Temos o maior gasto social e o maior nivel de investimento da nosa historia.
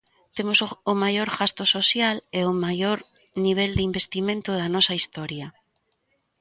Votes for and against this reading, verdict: 0, 2, rejected